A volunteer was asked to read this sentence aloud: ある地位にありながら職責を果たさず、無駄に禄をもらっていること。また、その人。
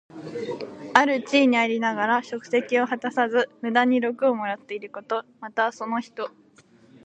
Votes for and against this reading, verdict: 2, 1, accepted